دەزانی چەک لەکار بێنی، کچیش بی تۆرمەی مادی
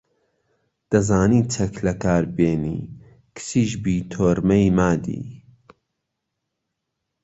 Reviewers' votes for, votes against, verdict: 2, 0, accepted